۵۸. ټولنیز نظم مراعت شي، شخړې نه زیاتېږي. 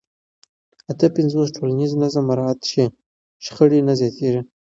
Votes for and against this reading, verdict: 0, 2, rejected